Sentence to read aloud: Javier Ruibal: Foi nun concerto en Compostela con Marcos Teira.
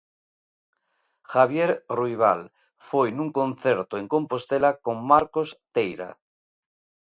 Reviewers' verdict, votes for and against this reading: accepted, 2, 0